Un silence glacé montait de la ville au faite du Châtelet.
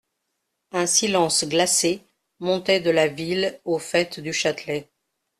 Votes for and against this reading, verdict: 2, 0, accepted